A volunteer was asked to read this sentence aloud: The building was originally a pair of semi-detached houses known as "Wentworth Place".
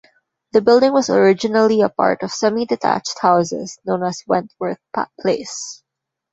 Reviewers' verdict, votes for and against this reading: rejected, 1, 2